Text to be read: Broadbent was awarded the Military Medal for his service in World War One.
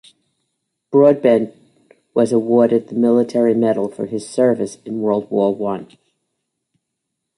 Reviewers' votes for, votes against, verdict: 1, 2, rejected